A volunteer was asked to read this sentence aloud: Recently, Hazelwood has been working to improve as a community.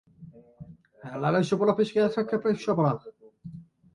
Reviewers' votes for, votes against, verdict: 0, 2, rejected